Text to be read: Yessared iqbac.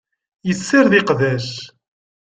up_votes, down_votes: 2, 0